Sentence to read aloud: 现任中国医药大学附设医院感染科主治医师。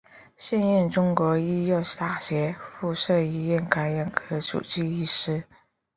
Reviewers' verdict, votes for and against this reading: accepted, 3, 0